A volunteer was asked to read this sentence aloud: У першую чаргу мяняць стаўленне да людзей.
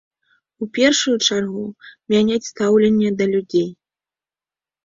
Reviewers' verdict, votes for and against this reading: accepted, 2, 0